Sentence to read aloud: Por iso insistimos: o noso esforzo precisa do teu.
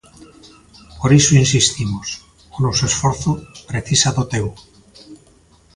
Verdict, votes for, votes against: accepted, 2, 0